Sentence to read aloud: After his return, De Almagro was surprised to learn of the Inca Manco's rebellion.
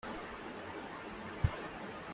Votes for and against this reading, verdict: 0, 2, rejected